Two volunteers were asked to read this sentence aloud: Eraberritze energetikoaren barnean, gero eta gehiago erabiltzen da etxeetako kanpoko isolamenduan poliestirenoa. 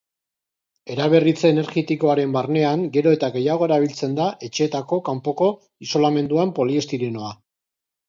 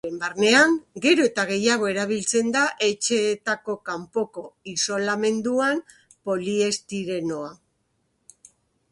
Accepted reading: first